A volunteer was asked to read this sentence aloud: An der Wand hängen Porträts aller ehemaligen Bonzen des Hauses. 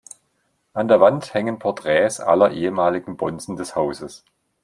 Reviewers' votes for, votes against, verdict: 2, 0, accepted